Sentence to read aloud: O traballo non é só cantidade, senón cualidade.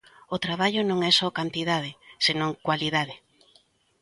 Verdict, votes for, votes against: accepted, 2, 0